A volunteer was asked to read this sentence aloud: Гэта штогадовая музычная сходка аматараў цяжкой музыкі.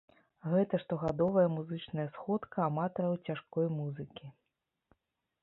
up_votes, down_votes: 2, 0